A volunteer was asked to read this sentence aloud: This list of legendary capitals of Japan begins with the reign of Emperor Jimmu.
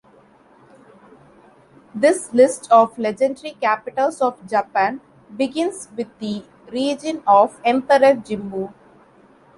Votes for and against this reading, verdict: 0, 2, rejected